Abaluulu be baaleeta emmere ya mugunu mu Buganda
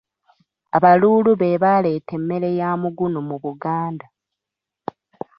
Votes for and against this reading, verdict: 2, 0, accepted